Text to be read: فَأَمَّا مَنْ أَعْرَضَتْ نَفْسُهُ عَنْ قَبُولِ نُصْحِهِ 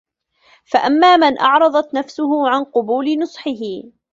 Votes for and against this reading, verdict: 1, 2, rejected